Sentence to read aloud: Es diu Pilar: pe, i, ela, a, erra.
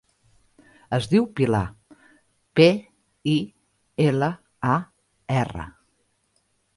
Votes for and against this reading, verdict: 2, 0, accepted